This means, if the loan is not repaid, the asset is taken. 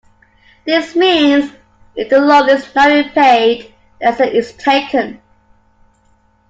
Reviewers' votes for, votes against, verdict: 1, 2, rejected